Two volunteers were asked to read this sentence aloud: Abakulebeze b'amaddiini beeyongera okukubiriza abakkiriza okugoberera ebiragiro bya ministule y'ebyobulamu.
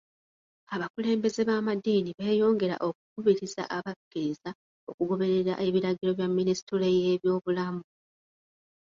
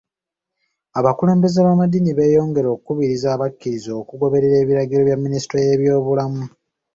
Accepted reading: second